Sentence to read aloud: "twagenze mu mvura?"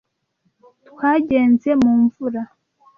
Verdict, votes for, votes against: accepted, 2, 0